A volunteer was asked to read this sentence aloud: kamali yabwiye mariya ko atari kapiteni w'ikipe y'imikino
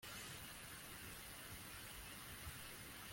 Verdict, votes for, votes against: rejected, 0, 2